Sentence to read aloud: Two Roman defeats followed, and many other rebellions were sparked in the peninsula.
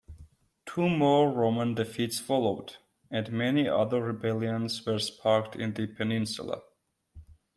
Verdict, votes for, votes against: rejected, 0, 2